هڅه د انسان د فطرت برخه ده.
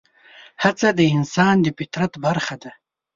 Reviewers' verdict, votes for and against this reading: accepted, 2, 0